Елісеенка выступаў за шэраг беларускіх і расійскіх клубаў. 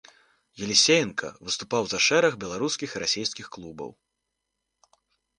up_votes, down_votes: 2, 0